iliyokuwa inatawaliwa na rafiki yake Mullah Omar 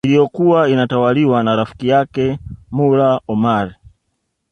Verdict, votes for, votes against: rejected, 1, 2